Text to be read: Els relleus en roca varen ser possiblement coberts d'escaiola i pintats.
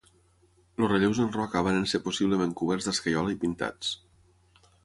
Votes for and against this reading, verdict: 6, 3, accepted